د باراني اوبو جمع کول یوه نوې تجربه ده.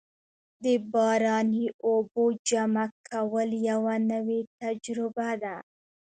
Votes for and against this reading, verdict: 1, 2, rejected